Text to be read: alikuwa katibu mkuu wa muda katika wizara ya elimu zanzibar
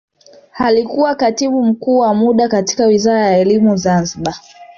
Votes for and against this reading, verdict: 1, 2, rejected